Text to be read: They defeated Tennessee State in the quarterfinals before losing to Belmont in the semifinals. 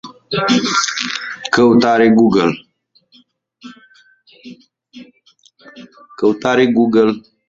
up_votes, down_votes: 0, 2